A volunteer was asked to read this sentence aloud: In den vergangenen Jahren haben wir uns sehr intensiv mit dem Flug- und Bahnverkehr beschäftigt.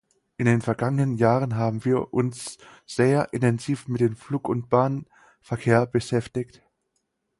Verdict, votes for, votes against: accepted, 4, 2